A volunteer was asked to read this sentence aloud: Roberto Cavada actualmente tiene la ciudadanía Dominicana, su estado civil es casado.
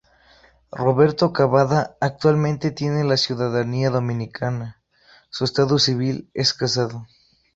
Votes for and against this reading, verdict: 2, 0, accepted